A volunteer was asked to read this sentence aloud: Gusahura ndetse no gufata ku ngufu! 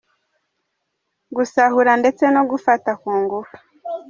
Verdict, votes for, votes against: rejected, 2, 3